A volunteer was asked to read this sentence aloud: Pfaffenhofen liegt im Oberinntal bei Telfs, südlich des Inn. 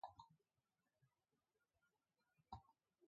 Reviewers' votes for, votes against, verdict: 0, 2, rejected